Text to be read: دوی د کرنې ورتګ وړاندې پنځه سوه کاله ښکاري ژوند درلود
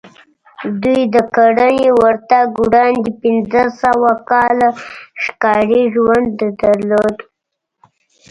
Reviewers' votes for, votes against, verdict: 0, 2, rejected